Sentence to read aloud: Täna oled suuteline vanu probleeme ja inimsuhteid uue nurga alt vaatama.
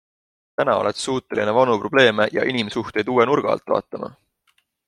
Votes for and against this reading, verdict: 2, 0, accepted